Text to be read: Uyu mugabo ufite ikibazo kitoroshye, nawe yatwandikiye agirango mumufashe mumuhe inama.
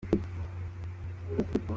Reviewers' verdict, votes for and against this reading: rejected, 0, 2